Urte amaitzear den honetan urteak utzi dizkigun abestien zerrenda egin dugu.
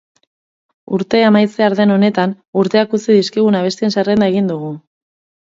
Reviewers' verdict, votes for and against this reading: accepted, 6, 0